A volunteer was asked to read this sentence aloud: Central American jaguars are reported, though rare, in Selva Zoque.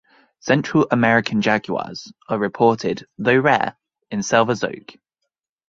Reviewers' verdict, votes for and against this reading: accepted, 6, 0